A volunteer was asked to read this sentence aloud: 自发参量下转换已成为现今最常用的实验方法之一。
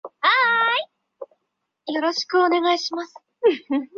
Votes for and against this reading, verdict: 0, 2, rejected